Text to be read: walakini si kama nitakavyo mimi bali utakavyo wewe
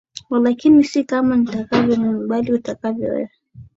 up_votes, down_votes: 2, 0